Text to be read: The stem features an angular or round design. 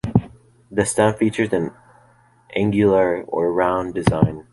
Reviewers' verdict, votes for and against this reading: accepted, 2, 0